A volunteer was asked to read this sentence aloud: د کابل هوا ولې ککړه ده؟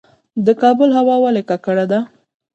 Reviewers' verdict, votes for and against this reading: rejected, 0, 2